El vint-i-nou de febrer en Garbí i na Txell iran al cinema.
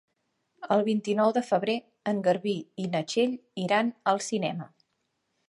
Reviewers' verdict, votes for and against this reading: accepted, 3, 0